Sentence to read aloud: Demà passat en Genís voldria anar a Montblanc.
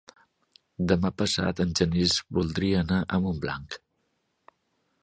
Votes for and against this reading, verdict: 2, 0, accepted